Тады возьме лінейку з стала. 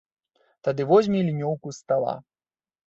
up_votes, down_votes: 1, 2